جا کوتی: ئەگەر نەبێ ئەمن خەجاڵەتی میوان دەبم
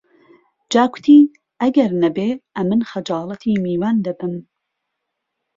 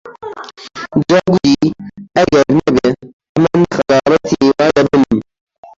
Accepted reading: first